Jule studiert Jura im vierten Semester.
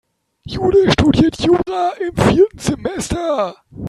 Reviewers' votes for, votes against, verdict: 0, 3, rejected